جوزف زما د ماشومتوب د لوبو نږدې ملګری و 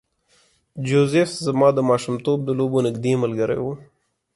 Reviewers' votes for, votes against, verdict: 2, 0, accepted